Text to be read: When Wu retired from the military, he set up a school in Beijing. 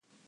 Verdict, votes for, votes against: rejected, 0, 2